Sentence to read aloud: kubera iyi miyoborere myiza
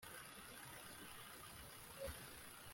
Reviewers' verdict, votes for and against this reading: rejected, 0, 2